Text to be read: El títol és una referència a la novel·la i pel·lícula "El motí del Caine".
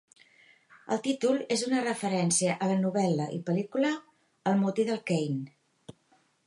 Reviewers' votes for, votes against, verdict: 2, 0, accepted